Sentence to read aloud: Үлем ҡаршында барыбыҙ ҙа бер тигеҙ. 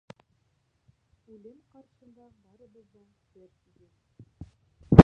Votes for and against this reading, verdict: 0, 2, rejected